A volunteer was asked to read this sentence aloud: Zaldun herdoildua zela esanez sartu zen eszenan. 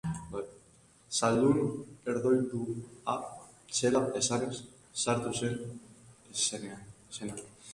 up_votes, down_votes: 0, 3